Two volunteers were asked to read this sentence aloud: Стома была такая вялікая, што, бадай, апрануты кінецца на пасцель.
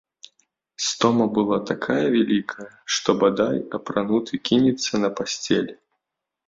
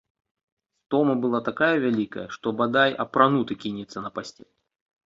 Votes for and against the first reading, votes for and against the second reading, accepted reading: 2, 0, 1, 2, first